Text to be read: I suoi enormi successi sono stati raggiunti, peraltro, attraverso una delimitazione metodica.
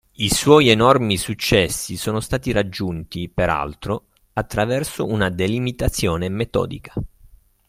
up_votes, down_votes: 3, 0